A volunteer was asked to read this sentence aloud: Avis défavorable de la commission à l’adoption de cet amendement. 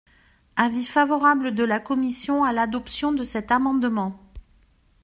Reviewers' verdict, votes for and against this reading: rejected, 1, 2